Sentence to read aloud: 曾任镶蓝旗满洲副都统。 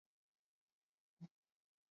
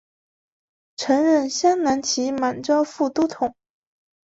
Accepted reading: second